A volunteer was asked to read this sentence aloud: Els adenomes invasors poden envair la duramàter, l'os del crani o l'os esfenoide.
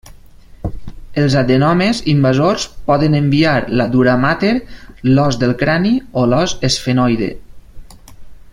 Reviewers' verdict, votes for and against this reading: rejected, 1, 2